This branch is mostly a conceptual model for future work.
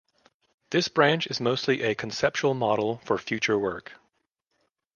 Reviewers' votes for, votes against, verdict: 2, 0, accepted